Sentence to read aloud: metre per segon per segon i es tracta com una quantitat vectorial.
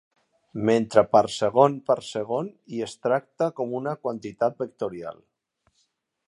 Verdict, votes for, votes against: accepted, 2, 0